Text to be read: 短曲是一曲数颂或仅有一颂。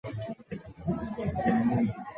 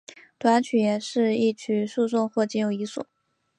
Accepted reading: second